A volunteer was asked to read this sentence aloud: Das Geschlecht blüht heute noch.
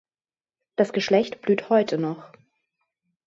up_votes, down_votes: 3, 0